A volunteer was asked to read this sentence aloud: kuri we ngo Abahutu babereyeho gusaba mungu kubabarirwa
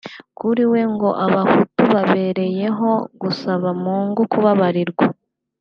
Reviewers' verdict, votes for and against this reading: accepted, 2, 1